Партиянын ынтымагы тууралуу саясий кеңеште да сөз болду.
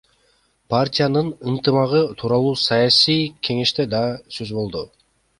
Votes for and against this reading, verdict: 2, 0, accepted